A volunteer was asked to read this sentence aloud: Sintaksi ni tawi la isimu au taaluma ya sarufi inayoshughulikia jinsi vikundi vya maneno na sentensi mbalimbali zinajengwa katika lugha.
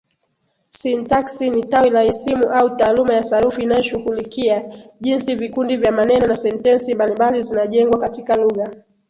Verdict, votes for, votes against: accepted, 19, 5